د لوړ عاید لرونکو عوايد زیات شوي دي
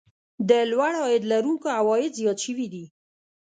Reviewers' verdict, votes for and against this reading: accepted, 2, 0